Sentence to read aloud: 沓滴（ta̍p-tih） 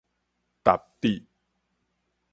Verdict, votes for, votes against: accepted, 4, 0